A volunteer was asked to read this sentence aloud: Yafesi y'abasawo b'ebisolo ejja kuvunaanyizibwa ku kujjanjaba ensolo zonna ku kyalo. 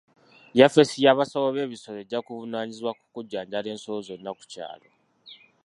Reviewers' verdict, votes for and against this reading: rejected, 1, 2